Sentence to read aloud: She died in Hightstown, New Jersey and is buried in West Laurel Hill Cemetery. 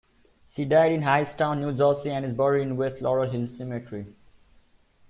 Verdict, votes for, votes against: accepted, 2, 0